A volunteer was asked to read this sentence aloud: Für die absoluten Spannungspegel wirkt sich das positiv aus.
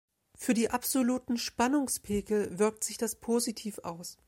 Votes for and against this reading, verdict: 2, 0, accepted